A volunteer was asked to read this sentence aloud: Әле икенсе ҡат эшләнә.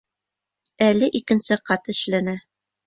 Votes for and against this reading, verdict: 2, 0, accepted